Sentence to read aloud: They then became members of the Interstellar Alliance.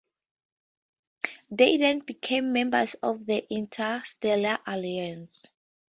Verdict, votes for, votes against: accepted, 4, 2